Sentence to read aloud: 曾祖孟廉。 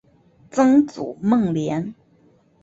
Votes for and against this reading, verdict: 2, 0, accepted